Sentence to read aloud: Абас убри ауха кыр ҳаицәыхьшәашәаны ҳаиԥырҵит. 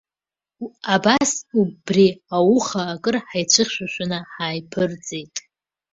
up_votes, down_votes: 1, 2